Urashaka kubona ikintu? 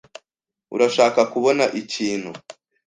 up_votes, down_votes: 2, 0